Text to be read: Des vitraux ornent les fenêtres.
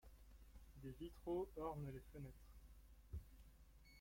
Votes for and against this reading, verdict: 0, 2, rejected